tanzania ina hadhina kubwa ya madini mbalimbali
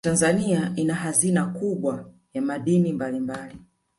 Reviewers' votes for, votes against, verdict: 1, 2, rejected